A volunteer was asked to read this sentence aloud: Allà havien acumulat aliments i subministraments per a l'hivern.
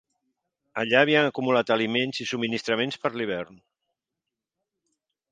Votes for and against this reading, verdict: 0, 2, rejected